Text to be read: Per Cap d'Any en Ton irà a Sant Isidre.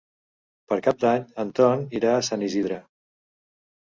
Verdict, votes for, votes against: accepted, 2, 0